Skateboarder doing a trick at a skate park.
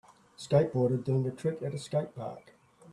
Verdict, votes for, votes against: rejected, 1, 2